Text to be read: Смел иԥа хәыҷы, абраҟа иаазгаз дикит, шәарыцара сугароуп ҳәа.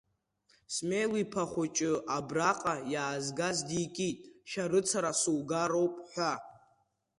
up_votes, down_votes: 2, 0